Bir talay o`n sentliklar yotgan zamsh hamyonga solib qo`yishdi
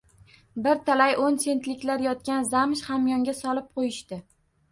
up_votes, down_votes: 2, 0